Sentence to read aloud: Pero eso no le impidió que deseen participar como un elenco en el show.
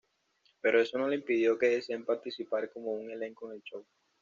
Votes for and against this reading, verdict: 2, 0, accepted